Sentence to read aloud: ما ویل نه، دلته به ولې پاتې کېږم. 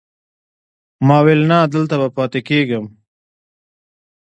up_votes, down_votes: 1, 2